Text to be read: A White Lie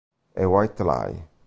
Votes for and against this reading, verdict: 2, 0, accepted